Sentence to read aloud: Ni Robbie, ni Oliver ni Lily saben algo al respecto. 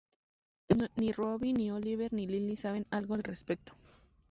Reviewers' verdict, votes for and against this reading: rejected, 0, 2